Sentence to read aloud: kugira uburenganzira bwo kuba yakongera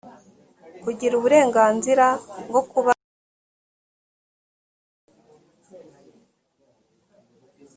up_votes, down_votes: 0, 3